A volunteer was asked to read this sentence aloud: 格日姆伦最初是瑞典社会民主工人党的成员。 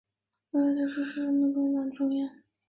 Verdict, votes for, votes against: rejected, 0, 3